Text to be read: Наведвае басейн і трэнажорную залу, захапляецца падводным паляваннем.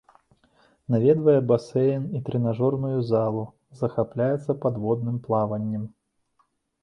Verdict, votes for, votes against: rejected, 1, 2